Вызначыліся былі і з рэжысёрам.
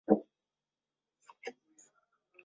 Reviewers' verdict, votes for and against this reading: rejected, 0, 2